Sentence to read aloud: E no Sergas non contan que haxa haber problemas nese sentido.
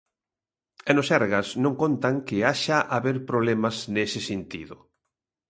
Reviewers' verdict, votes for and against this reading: accepted, 2, 0